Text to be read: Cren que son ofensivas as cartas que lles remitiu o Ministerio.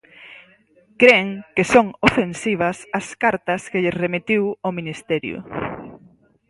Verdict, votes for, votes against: accepted, 4, 0